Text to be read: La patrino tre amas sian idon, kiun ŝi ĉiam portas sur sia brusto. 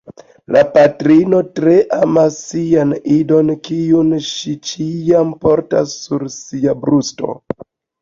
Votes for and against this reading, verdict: 2, 0, accepted